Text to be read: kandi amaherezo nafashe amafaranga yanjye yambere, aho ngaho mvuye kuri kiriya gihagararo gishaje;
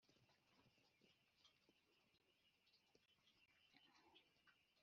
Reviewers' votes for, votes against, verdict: 1, 2, rejected